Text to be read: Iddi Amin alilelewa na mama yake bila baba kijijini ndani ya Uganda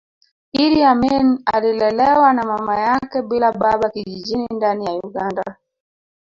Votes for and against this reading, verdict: 0, 2, rejected